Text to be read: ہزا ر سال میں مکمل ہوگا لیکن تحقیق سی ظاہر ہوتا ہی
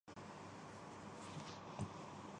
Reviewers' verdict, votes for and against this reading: rejected, 0, 2